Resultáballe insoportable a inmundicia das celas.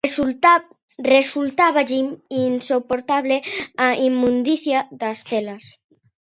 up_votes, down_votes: 0, 2